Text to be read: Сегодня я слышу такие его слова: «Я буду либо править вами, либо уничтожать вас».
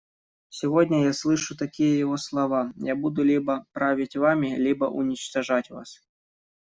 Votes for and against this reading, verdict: 2, 1, accepted